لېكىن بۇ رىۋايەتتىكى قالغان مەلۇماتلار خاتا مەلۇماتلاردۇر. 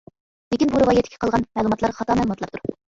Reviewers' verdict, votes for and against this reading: rejected, 0, 2